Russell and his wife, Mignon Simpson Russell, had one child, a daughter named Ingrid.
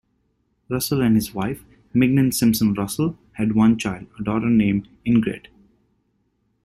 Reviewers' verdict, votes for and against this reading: rejected, 0, 2